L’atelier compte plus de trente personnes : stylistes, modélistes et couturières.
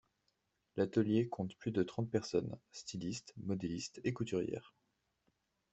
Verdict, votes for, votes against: accepted, 2, 1